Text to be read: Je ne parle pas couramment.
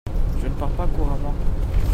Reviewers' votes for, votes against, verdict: 1, 2, rejected